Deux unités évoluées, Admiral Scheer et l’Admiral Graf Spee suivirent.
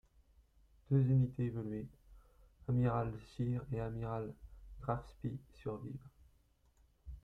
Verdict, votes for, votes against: rejected, 0, 2